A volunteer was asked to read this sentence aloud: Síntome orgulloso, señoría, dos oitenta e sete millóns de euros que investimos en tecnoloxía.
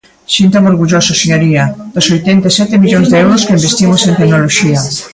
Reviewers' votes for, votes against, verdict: 2, 1, accepted